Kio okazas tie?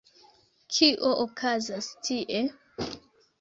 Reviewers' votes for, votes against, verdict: 2, 0, accepted